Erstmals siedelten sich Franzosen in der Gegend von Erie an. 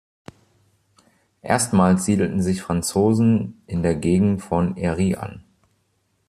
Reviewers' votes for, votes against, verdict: 2, 0, accepted